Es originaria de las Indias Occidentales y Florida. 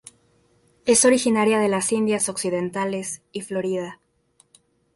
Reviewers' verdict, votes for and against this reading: accepted, 2, 0